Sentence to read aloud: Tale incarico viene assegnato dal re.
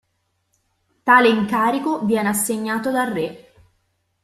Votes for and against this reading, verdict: 2, 0, accepted